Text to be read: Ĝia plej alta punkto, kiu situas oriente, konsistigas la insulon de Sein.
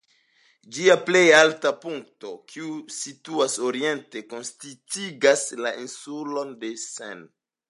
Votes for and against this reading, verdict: 2, 1, accepted